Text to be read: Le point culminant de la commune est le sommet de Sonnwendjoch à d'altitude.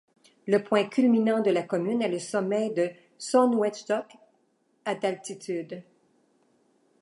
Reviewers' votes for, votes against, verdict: 2, 0, accepted